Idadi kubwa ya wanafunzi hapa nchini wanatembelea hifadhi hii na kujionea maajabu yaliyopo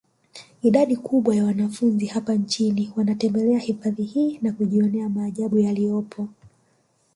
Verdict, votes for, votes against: rejected, 1, 2